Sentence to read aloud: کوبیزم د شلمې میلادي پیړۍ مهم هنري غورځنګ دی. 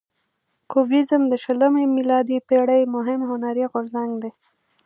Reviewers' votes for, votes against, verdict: 2, 0, accepted